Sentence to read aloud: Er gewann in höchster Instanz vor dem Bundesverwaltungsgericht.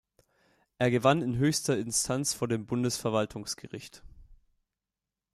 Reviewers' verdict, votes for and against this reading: accepted, 2, 0